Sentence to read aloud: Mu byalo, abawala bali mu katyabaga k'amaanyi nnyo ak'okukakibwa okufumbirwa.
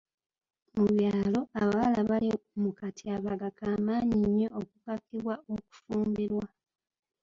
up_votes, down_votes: 2, 0